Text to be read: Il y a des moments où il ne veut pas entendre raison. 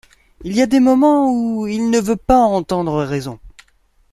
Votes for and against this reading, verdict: 2, 0, accepted